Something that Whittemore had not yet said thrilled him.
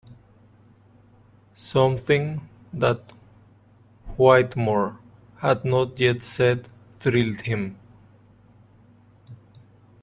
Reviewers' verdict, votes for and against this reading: rejected, 1, 2